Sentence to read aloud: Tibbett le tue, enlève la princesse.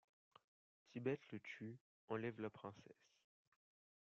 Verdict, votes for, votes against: accepted, 2, 1